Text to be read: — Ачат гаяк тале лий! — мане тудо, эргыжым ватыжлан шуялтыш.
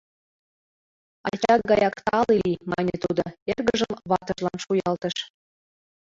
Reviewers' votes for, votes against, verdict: 0, 2, rejected